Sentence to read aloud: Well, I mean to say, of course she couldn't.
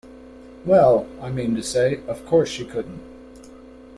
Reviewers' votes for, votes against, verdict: 2, 0, accepted